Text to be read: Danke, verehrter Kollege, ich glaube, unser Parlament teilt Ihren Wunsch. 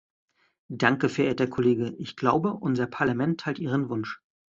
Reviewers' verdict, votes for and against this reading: accepted, 2, 0